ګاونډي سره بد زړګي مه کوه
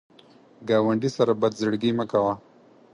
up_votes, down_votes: 4, 0